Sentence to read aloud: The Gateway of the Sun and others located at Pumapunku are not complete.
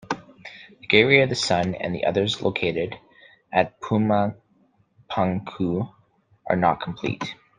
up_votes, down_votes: 0, 2